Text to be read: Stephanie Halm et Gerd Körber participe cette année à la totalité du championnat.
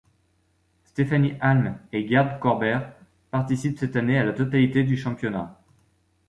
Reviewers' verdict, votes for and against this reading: accepted, 2, 0